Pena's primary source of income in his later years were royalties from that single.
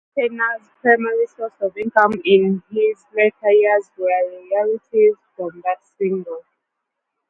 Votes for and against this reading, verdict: 0, 2, rejected